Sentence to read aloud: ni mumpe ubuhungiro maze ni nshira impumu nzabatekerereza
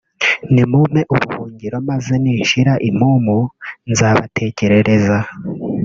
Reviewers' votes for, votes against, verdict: 1, 2, rejected